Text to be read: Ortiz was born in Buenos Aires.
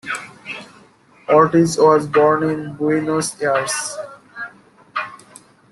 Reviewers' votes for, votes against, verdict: 2, 1, accepted